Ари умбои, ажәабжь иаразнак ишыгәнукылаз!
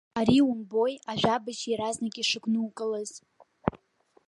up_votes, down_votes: 0, 2